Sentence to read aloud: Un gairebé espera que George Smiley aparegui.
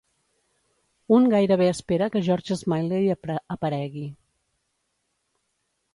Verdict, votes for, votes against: accepted, 2, 1